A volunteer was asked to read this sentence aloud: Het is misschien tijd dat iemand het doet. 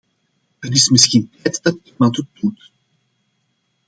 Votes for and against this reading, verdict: 0, 2, rejected